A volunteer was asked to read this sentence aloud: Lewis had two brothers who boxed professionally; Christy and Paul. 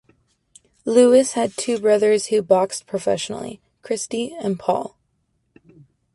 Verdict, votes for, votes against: accepted, 2, 0